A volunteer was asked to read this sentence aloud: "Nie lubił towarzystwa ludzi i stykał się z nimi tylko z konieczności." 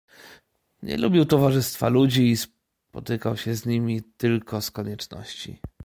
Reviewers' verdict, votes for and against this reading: rejected, 1, 2